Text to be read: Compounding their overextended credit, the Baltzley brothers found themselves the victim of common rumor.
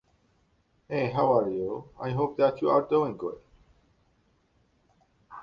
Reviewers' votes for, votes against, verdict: 1, 2, rejected